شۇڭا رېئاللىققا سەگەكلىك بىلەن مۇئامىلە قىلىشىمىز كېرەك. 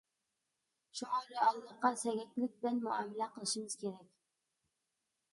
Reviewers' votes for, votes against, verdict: 2, 0, accepted